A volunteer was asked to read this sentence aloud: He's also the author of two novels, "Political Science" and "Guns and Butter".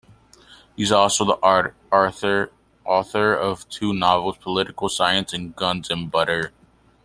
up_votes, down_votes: 0, 2